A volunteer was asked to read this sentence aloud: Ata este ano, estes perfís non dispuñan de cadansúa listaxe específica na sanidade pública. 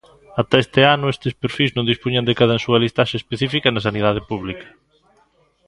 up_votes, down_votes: 2, 0